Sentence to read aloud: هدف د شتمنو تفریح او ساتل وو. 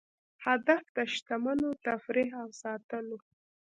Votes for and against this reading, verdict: 1, 2, rejected